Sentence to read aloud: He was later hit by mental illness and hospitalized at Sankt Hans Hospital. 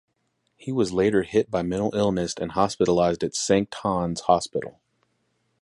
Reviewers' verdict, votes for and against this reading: accepted, 4, 0